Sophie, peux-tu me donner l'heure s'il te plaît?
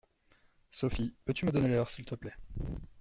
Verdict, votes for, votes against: accepted, 2, 0